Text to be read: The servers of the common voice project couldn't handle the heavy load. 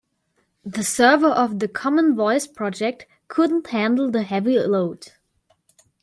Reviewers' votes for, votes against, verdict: 0, 2, rejected